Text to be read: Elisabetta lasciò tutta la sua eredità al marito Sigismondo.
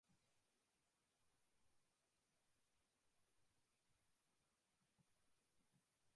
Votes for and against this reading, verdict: 0, 2, rejected